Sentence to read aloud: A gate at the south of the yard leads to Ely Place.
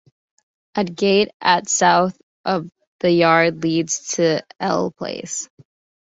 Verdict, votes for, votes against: rejected, 0, 2